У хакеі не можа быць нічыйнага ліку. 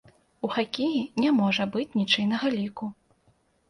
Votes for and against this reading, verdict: 2, 0, accepted